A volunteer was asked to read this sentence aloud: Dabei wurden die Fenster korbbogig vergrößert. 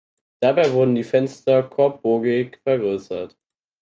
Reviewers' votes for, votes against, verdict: 4, 2, accepted